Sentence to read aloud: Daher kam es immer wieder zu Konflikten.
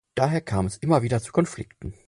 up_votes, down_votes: 4, 0